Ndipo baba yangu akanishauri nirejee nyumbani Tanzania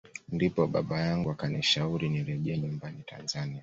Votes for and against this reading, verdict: 2, 0, accepted